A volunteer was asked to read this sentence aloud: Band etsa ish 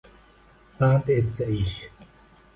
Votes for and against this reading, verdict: 2, 0, accepted